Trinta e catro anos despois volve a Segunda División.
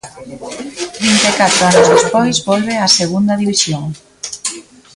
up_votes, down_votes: 2, 1